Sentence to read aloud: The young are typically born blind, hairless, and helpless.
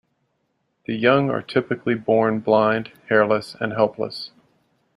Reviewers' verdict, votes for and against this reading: accepted, 2, 0